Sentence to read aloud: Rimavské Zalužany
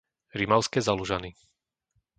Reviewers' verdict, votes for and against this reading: accepted, 2, 0